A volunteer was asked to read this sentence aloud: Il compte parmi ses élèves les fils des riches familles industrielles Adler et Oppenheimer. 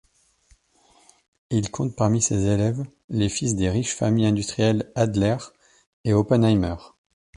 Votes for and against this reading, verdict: 2, 0, accepted